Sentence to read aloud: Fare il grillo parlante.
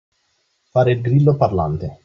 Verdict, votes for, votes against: accepted, 2, 0